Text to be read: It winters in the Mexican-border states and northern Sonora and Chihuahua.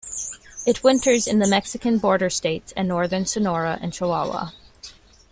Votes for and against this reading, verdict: 2, 1, accepted